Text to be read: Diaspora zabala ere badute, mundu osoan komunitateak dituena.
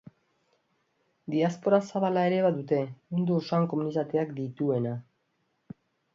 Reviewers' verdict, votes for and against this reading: accepted, 5, 0